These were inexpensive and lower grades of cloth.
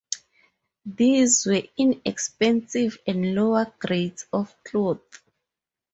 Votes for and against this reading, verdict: 4, 0, accepted